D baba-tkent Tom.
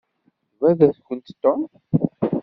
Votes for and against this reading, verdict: 1, 2, rejected